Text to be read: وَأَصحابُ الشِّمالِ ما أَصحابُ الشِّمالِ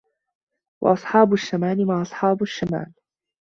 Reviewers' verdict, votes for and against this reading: rejected, 0, 2